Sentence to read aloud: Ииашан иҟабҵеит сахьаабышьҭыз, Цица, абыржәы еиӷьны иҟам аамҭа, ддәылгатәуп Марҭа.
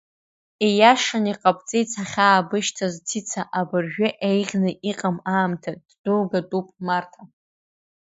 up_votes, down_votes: 2, 1